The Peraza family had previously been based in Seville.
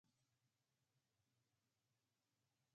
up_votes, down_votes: 0, 3